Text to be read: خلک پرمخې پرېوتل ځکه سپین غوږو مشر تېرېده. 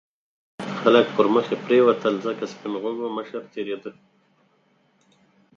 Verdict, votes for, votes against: accepted, 4, 0